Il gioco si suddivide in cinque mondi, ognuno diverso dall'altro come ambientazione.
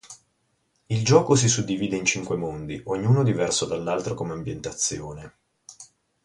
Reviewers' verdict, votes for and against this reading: accepted, 2, 0